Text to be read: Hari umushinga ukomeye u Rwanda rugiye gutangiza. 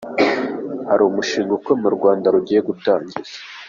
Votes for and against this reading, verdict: 2, 1, accepted